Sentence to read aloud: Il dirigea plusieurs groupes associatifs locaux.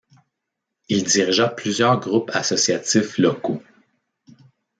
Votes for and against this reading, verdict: 2, 0, accepted